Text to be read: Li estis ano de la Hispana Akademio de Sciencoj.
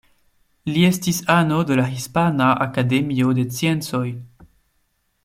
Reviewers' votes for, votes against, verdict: 0, 2, rejected